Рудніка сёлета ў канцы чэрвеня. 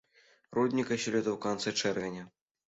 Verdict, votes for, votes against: accepted, 2, 0